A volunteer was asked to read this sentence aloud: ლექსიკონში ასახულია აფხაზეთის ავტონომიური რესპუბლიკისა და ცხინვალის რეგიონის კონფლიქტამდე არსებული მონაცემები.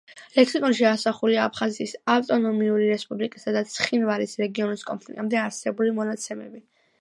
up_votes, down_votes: 2, 1